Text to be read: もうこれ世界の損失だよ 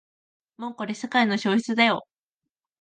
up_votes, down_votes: 0, 2